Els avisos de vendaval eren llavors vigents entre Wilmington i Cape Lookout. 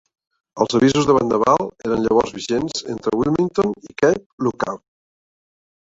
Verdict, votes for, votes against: accepted, 2, 0